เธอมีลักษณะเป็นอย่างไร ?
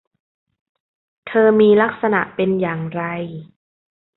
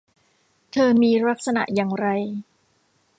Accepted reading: first